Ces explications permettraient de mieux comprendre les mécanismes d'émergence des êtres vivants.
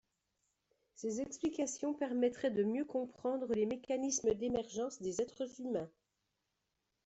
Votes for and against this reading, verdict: 1, 2, rejected